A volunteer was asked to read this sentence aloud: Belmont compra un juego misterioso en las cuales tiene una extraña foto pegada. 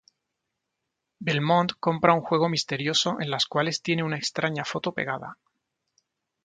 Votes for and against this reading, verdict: 2, 0, accepted